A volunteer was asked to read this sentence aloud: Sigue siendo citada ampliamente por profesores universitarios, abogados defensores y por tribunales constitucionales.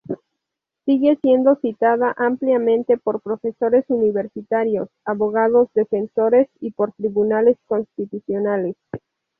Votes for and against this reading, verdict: 4, 0, accepted